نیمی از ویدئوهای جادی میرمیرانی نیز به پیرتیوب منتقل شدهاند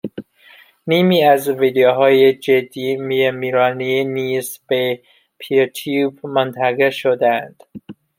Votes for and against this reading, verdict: 2, 0, accepted